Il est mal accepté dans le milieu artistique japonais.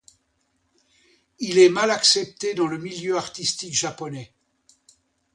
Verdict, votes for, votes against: accepted, 2, 0